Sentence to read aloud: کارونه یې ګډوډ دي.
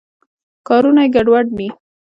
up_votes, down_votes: 1, 2